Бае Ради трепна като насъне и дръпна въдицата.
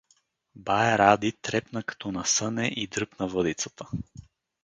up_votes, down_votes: 2, 0